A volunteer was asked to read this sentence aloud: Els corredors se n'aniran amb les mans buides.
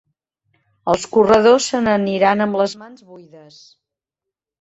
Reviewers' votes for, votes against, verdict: 1, 2, rejected